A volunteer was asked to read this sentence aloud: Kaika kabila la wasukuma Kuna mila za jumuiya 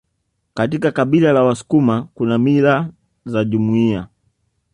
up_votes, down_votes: 2, 0